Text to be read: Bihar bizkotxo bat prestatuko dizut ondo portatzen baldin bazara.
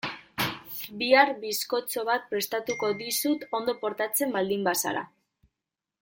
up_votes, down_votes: 0, 2